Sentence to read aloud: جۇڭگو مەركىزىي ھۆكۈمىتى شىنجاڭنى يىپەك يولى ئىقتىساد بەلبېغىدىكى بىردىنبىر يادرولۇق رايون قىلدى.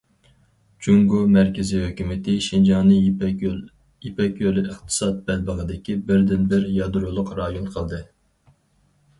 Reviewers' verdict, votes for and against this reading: rejected, 0, 4